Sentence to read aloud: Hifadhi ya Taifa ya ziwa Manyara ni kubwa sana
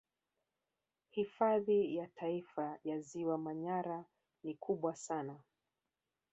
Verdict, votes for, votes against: accepted, 2, 1